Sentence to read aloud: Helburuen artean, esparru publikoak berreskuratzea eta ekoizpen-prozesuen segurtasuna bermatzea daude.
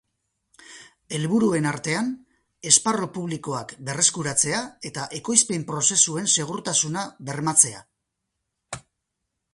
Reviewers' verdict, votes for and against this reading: rejected, 0, 2